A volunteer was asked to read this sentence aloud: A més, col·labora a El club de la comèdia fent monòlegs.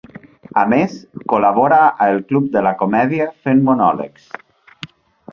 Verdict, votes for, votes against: accepted, 2, 0